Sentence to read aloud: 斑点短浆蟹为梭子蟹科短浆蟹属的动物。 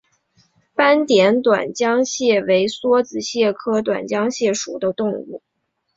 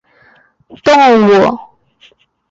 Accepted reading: first